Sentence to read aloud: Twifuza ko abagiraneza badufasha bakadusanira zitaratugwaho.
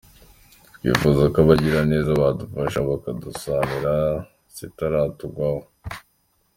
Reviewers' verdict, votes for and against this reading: accepted, 3, 0